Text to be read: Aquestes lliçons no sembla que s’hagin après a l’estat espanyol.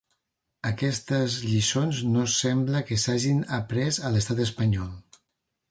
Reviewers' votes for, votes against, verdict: 2, 0, accepted